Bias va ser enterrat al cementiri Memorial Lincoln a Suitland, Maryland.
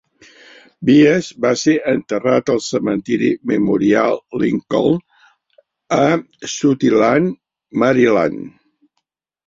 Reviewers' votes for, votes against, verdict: 1, 2, rejected